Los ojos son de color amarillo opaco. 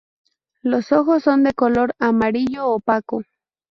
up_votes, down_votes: 4, 0